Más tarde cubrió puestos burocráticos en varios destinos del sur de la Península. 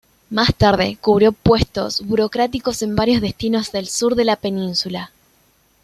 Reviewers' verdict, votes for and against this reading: accepted, 2, 0